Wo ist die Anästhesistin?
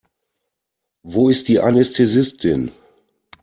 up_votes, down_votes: 2, 0